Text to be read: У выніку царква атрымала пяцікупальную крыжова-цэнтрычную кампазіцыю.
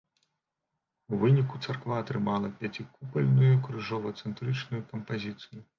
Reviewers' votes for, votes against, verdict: 2, 0, accepted